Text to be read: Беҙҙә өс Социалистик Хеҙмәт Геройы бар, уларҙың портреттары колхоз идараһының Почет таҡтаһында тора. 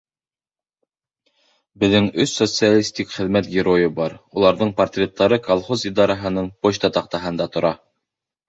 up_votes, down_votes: 0, 2